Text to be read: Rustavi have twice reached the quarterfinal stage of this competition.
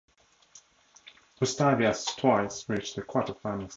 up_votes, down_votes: 0, 2